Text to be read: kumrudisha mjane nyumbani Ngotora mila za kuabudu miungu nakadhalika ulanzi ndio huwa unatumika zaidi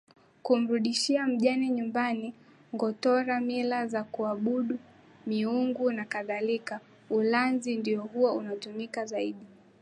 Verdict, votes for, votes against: accepted, 2, 0